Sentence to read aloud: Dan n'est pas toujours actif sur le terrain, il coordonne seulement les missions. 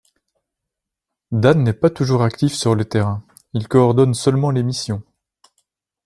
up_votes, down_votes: 2, 0